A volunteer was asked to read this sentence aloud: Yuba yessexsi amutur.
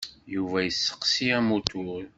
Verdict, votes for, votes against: rejected, 1, 2